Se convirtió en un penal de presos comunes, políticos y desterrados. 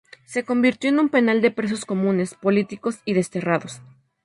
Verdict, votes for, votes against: accepted, 2, 0